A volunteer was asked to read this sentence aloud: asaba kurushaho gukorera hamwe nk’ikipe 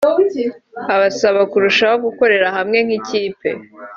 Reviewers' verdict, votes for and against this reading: accepted, 2, 1